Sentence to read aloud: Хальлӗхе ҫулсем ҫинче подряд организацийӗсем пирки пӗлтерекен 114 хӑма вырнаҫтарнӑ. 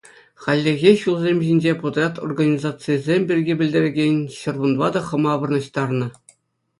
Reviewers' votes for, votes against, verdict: 0, 2, rejected